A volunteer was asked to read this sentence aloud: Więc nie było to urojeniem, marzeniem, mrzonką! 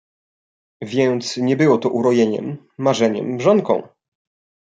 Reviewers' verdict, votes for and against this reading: accepted, 2, 0